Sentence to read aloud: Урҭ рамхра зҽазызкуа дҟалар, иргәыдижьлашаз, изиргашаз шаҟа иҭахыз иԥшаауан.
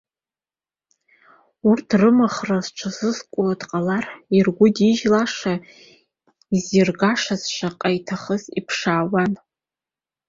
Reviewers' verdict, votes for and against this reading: rejected, 1, 2